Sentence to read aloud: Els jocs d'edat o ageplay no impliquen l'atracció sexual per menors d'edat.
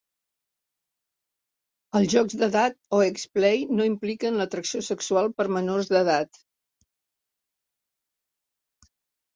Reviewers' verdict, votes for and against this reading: accepted, 3, 0